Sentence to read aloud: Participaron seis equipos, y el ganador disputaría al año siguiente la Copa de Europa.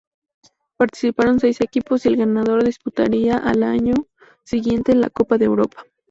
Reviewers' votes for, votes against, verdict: 4, 2, accepted